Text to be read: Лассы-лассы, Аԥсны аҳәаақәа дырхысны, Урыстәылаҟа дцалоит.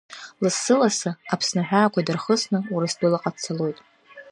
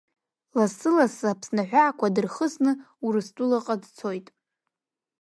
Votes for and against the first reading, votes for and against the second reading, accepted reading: 2, 0, 1, 2, first